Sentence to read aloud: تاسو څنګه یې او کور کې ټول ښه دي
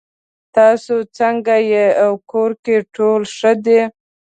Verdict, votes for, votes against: accepted, 2, 0